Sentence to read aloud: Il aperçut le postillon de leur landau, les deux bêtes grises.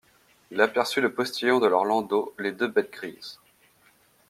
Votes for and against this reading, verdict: 2, 0, accepted